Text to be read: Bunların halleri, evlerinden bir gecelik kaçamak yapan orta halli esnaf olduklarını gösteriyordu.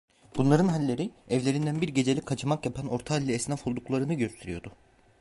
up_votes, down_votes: 2, 0